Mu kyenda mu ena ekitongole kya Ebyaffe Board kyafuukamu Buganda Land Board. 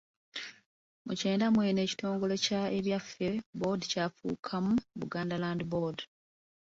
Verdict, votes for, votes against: accepted, 2, 0